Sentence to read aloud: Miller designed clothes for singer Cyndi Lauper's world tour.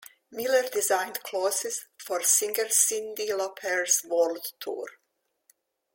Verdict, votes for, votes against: rejected, 1, 2